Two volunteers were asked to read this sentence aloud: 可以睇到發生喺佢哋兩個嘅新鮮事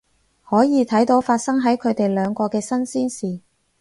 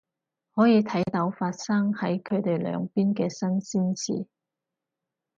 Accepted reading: first